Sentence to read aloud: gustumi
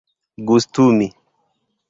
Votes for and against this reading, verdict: 2, 0, accepted